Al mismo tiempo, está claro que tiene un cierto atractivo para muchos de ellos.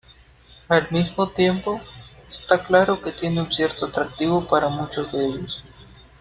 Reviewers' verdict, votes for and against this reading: rejected, 0, 2